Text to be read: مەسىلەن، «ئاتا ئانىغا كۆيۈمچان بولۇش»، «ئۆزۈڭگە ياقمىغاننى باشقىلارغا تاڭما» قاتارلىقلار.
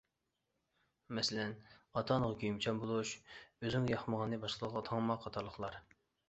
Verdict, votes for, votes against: accepted, 2, 0